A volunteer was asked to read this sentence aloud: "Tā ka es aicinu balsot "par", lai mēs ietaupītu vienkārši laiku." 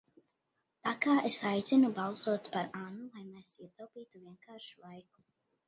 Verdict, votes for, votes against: rejected, 0, 2